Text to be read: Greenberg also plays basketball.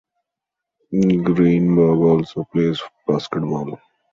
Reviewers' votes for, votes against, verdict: 0, 2, rejected